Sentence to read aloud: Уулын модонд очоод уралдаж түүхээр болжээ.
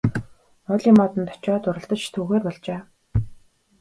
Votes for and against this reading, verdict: 2, 0, accepted